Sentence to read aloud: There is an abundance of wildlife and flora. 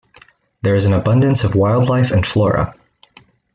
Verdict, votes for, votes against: accepted, 2, 0